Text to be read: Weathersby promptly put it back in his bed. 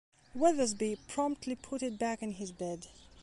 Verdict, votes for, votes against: accepted, 2, 0